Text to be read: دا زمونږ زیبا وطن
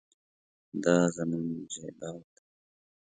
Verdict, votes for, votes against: rejected, 1, 2